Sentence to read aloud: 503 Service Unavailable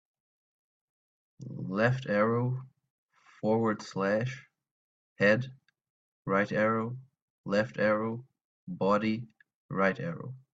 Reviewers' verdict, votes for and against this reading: rejected, 0, 2